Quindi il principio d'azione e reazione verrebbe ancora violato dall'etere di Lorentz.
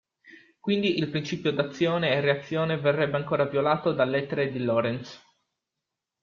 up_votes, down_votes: 2, 1